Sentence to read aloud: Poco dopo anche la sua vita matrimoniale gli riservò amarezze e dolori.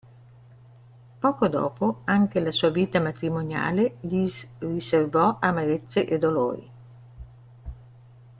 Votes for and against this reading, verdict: 0, 2, rejected